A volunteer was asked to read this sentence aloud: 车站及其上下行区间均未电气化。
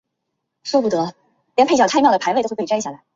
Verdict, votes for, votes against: rejected, 0, 2